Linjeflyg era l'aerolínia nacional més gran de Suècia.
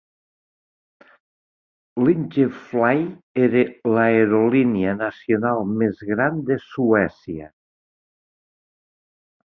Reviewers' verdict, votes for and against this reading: accepted, 2, 0